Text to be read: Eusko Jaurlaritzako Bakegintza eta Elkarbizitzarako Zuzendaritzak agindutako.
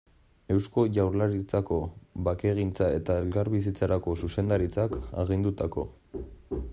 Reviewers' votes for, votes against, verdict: 2, 1, accepted